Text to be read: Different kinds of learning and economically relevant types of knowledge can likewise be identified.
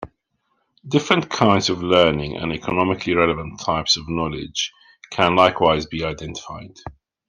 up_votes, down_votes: 2, 0